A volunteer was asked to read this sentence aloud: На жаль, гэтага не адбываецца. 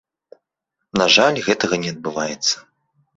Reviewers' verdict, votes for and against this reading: accepted, 2, 0